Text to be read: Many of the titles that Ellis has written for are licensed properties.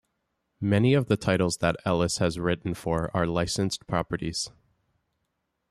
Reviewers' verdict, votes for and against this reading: rejected, 1, 2